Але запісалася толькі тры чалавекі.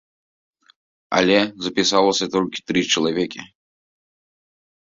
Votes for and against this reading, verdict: 2, 0, accepted